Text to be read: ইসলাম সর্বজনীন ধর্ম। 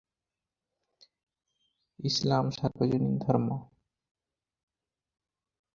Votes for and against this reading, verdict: 0, 4, rejected